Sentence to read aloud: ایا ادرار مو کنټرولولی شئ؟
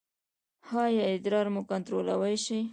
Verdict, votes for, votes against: rejected, 0, 2